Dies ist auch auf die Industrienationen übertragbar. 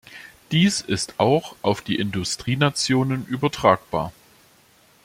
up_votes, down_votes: 2, 0